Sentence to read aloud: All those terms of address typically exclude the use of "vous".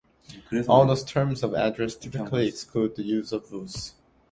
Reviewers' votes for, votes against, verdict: 2, 0, accepted